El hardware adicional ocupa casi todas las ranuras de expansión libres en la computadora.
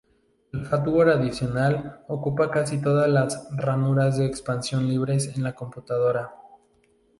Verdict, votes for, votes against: accepted, 2, 0